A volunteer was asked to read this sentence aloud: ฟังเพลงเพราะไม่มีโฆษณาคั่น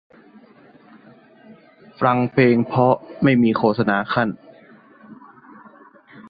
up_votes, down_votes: 0, 2